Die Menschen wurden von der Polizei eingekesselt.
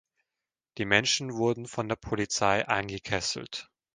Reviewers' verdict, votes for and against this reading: accepted, 2, 0